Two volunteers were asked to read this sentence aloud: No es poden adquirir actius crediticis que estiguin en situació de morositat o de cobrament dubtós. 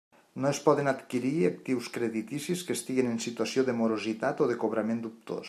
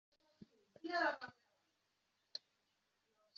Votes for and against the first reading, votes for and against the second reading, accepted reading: 2, 0, 0, 2, first